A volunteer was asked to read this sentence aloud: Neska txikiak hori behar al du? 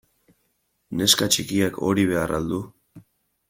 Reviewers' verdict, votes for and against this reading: accepted, 2, 0